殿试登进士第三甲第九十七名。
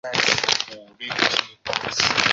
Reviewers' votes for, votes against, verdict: 0, 3, rejected